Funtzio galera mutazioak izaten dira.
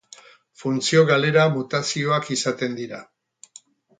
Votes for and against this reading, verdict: 2, 0, accepted